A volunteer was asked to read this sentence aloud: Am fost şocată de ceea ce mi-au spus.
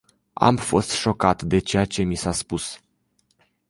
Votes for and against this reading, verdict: 0, 2, rejected